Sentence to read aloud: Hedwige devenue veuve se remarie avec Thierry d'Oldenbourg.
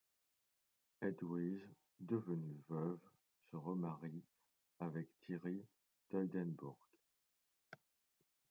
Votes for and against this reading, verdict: 2, 0, accepted